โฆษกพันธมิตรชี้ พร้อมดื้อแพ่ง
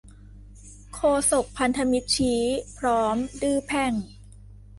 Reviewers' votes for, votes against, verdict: 2, 0, accepted